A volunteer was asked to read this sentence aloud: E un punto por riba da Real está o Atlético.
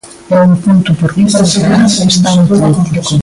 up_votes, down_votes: 0, 2